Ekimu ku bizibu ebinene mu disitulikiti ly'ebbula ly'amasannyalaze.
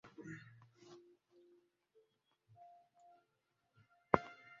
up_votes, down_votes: 0, 3